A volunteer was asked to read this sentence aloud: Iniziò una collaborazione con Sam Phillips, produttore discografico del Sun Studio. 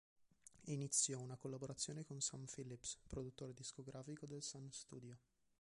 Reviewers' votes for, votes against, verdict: 1, 2, rejected